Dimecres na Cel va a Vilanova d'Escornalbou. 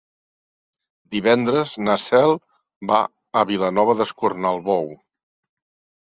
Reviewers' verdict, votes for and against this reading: rejected, 0, 2